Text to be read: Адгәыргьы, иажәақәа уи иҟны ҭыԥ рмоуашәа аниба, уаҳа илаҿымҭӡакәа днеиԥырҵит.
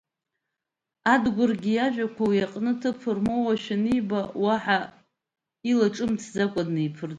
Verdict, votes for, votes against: accepted, 2, 1